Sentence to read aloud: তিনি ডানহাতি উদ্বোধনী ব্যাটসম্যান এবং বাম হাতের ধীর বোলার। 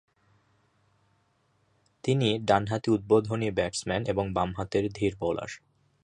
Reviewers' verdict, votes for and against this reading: accepted, 3, 0